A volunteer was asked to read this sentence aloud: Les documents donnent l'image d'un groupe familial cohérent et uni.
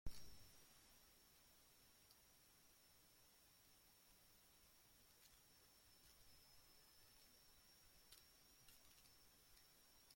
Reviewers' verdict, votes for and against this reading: rejected, 0, 2